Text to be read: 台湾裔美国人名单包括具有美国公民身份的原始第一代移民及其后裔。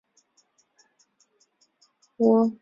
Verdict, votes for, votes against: rejected, 0, 3